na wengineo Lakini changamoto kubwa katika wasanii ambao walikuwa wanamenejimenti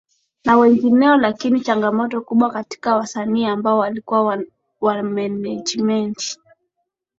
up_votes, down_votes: 2, 1